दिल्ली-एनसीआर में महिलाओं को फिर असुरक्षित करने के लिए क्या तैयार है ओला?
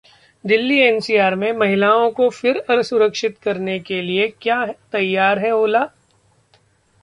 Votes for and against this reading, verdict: 2, 0, accepted